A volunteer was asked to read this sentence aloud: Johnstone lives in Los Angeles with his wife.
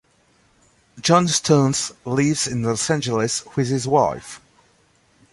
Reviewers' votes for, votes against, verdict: 0, 2, rejected